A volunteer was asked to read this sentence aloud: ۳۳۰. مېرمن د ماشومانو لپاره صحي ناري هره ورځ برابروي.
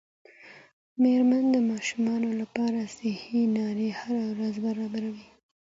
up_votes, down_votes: 0, 2